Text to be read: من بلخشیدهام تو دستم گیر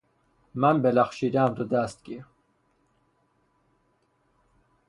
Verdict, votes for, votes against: rejected, 3, 3